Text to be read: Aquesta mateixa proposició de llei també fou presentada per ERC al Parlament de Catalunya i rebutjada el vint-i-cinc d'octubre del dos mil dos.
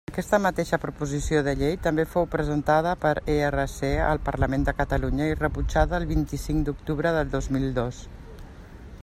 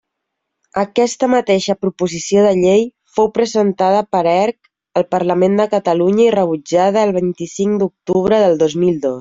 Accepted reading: first